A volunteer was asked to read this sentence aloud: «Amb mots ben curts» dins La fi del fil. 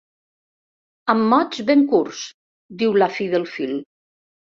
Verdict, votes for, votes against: rejected, 1, 2